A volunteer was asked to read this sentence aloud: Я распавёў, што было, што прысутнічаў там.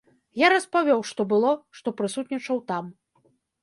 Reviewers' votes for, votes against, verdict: 2, 0, accepted